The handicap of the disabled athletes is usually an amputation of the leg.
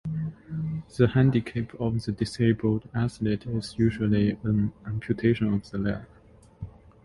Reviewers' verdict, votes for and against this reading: rejected, 1, 2